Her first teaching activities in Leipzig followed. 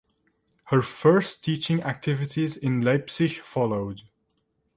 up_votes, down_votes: 2, 0